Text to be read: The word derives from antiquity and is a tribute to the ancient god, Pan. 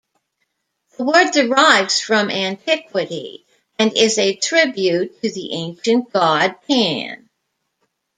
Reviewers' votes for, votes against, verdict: 2, 0, accepted